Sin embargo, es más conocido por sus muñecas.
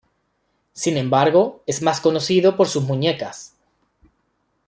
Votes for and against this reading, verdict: 2, 0, accepted